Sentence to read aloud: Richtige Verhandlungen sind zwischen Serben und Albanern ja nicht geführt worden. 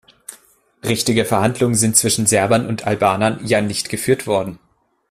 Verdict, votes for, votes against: rejected, 0, 2